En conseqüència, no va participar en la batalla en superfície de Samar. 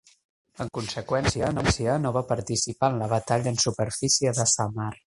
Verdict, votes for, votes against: rejected, 0, 2